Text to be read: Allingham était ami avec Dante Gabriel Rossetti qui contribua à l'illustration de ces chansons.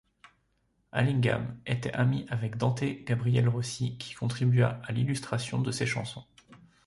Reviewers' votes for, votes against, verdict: 2, 3, rejected